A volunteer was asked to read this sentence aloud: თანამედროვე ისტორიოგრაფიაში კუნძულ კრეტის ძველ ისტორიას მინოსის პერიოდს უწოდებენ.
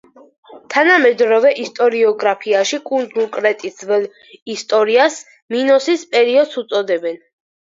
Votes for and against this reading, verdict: 4, 0, accepted